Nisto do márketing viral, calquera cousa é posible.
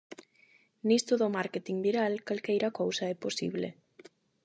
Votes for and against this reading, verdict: 0, 8, rejected